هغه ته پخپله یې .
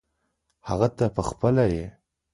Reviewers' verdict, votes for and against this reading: accepted, 2, 0